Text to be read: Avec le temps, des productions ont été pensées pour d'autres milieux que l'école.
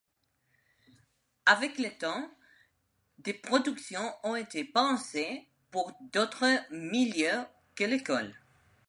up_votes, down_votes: 2, 0